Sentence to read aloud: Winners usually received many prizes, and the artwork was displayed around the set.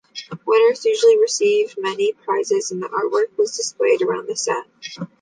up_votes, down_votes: 2, 0